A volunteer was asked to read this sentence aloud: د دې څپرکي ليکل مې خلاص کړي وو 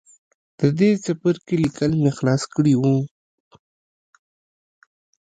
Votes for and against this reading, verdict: 1, 2, rejected